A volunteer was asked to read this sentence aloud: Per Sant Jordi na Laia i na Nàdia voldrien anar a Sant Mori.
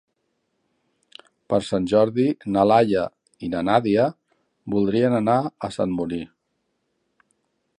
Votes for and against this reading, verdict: 0, 2, rejected